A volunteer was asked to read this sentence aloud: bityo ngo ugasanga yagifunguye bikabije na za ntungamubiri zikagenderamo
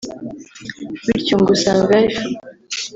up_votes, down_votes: 1, 2